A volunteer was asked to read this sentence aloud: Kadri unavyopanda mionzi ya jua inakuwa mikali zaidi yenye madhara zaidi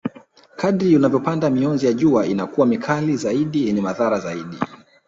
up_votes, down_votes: 0, 2